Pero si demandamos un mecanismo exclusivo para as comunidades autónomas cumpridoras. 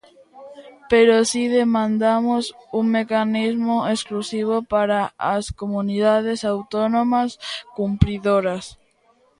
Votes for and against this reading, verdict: 3, 0, accepted